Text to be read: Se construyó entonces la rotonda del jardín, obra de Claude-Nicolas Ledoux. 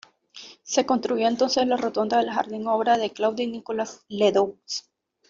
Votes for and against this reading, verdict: 1, 2, rejected